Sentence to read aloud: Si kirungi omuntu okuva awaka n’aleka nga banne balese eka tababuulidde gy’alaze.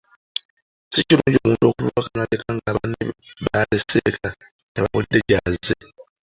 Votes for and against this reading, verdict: 0, 2, rejected